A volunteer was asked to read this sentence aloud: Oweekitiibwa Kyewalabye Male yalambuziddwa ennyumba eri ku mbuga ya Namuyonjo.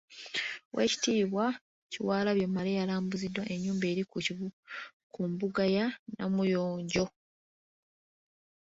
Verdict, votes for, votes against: rejected, 1, 2